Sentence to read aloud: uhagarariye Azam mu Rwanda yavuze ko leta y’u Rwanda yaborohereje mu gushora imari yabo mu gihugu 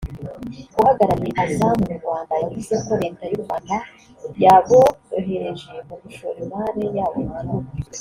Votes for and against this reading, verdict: 2, 1, accepted